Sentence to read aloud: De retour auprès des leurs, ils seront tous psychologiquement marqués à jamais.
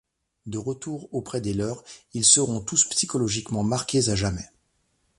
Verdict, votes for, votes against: accepted, 2, 0